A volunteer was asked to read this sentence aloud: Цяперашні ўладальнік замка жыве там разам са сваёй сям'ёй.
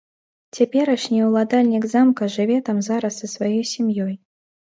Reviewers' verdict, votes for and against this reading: rejected, 1, 2